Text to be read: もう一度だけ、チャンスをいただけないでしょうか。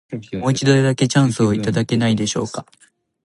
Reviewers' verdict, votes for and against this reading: accepted, 2, 1